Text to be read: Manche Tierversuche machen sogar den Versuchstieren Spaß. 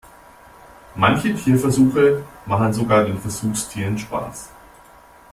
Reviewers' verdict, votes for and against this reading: accepted, 2, 0